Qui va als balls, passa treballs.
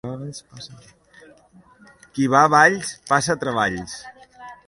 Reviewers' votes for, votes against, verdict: 0, 2, rejected